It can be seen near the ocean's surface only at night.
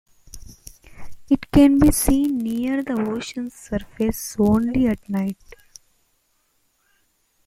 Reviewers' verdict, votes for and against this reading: accepted, 2, 0